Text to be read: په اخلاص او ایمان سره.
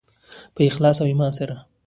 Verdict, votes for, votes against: accepted, 2, 0